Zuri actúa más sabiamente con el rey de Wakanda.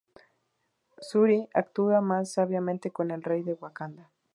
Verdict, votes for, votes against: rejected, 0, 2